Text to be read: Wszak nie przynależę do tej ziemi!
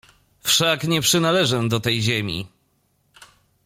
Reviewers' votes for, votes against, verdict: 2, 0, accepted